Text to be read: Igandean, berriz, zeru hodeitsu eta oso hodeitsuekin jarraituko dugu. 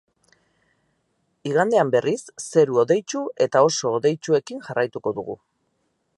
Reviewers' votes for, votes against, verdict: 4, 0, accepted